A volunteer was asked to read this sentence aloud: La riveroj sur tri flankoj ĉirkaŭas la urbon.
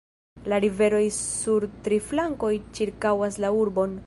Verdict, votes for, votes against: rejected, 1, 2